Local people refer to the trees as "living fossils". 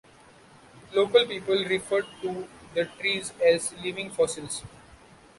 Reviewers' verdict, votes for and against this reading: accepted, 2, 0